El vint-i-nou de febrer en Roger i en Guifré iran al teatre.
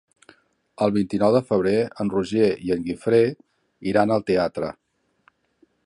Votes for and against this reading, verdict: 3, 0, accepted